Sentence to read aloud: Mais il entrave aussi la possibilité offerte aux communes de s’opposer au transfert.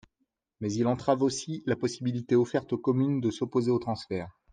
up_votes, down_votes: 2, 0